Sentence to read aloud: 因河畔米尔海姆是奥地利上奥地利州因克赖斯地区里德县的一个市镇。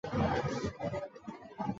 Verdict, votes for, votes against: rejected, 1, 4